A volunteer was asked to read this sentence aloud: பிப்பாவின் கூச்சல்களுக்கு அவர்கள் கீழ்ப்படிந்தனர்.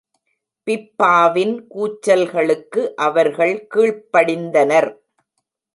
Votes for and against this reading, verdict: 2, 0, accepted